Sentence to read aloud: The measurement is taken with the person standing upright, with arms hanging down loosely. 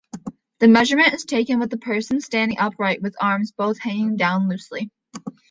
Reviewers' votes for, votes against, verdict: 1, 2, rejected